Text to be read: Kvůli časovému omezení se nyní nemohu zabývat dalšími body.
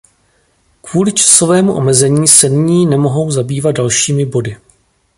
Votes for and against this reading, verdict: 1, 2, rejected